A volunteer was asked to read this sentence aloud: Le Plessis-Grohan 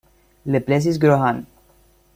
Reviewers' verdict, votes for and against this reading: accepted, 2, 0